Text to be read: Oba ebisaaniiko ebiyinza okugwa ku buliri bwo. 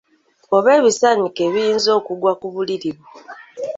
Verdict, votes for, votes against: accepted, 2, 0